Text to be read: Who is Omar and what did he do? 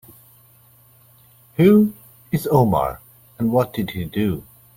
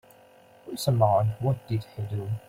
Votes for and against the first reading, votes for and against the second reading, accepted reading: 2, 0, 1, 2, first